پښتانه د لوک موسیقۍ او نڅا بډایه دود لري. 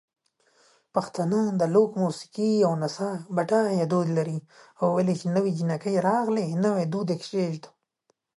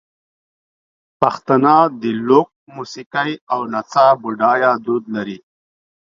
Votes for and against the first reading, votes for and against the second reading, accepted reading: 0, 2, 2, 0, second